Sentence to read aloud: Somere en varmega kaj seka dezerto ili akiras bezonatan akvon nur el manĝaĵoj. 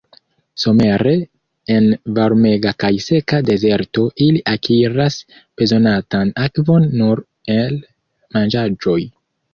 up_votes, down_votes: 2, 0